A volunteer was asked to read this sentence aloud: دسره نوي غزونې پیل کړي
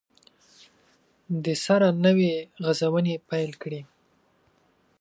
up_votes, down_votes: 2, 1